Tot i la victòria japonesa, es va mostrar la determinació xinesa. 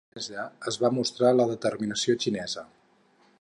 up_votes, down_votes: 0, 4